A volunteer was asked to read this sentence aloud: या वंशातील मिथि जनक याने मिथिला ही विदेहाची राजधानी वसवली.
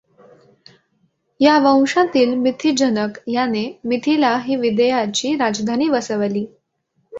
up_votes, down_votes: 2, 1